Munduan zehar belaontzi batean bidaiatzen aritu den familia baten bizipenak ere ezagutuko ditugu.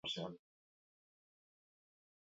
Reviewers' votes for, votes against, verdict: 0, 4, rejected